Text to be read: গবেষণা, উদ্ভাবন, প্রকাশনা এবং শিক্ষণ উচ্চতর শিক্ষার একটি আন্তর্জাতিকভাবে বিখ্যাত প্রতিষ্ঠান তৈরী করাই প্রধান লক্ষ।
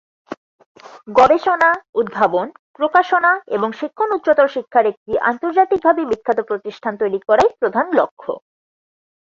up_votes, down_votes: 4, 2